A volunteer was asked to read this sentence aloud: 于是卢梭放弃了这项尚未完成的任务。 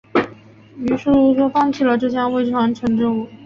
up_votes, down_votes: 0, 2